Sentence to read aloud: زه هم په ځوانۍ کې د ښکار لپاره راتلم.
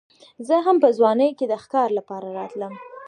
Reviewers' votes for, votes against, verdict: 2, 0, accepted